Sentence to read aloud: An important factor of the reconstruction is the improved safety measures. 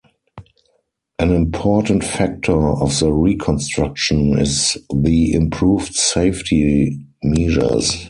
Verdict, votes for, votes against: rejected, 2, 4